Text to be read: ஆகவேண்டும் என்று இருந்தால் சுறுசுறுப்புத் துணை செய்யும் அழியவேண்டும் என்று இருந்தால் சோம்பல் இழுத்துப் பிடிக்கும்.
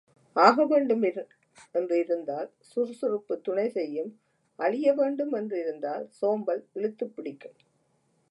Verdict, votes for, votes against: rejected, 0, 2